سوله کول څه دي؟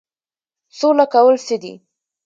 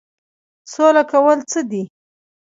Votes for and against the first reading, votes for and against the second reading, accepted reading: 2, 0, 1, 2, first